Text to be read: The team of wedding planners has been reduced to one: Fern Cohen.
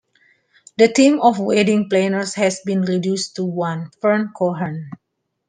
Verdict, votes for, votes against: accepted, 2, 0